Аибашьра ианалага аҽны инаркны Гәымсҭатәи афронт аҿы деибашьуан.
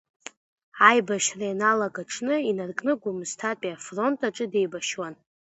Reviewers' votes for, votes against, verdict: 2, 0, accepted